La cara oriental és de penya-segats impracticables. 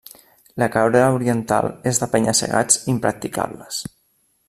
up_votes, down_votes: 0, 2